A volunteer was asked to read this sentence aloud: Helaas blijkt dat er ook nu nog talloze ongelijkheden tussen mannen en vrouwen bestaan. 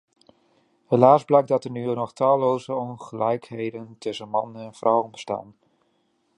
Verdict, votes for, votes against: rejected, 0, 2